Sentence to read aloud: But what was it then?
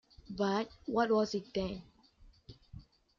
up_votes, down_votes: 3, 0